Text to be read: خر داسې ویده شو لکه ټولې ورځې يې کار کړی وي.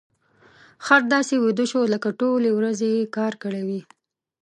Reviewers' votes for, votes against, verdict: 0, 2, rejected